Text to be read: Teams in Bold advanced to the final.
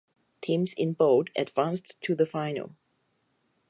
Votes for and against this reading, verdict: 4, 0, accepted